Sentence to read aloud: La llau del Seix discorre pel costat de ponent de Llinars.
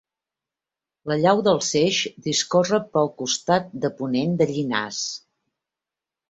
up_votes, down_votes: 2, 0